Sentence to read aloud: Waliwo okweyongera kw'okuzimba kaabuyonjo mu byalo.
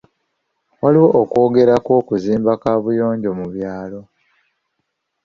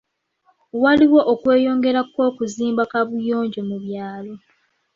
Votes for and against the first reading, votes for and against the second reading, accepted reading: 1, 2, 3, 0, second